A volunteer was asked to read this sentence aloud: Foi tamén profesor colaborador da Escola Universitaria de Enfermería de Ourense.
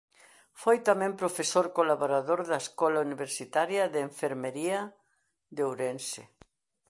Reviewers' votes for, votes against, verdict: 2, 0, accepted